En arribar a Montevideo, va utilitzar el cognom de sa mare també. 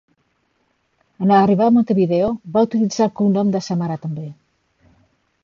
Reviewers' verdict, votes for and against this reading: accepted, 2, 0